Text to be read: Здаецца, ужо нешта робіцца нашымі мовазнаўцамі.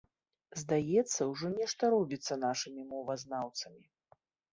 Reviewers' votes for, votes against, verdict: 4, 0, accepted